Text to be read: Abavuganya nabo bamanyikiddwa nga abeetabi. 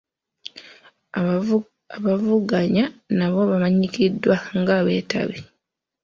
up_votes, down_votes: 1, 2